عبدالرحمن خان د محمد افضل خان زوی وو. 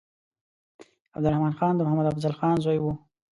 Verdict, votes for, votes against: accepted, 2, 0